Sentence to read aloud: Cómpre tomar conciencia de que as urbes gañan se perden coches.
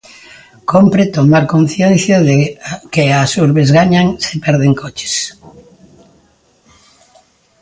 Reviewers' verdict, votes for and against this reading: rejected, 1, 2